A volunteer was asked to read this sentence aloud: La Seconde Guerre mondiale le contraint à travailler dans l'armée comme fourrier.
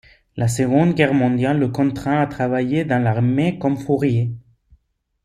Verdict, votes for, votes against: accepted, 2, 0